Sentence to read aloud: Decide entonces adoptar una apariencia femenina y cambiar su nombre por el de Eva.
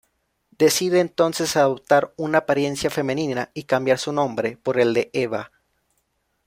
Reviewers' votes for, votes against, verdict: 2, 0, accepted